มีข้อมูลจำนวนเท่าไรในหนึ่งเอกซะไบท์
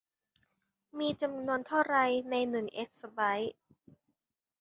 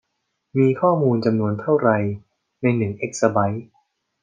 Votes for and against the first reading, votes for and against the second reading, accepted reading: 0, 2, 2, 0, second